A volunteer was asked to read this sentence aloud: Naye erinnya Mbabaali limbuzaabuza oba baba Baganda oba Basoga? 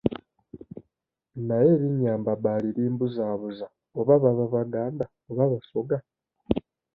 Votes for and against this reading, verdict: 2, 0, accepted